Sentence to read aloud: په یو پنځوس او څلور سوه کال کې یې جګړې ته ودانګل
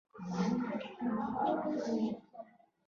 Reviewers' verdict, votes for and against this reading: rejected, 1, 2